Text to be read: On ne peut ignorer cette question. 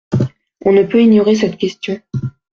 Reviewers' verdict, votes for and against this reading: accepted, 2, 0